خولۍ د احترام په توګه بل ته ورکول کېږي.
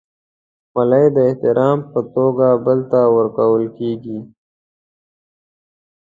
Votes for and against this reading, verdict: 2, 0, accepted